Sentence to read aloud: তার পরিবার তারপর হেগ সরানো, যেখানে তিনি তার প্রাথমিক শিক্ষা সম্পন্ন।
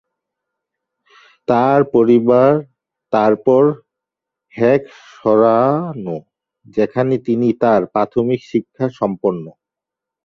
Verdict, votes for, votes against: rejected, 1, 4